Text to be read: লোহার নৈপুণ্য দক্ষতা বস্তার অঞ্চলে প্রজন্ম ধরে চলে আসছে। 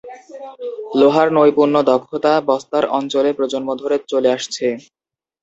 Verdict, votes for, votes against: accepted, 2, 0